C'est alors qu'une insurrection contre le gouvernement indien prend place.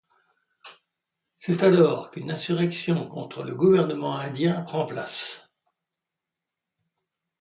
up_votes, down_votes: 1, 2